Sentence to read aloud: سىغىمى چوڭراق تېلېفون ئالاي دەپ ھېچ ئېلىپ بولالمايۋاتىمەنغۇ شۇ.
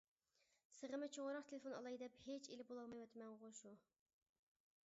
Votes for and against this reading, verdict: 0, 2, rejected